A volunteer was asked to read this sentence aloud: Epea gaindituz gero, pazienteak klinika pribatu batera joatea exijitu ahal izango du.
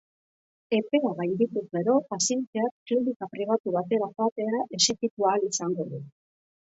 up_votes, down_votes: 2, 0